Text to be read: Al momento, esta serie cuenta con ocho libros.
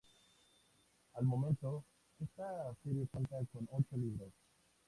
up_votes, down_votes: 0, 2